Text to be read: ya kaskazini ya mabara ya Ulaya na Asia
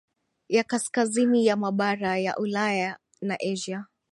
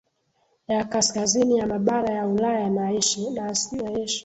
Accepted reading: second